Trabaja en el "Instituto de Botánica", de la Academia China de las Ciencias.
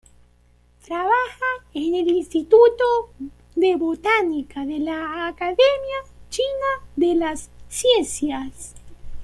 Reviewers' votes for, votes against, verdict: 2, 0, accepted